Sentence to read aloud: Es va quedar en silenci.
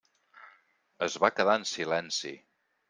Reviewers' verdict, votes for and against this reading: accepted, 3, 0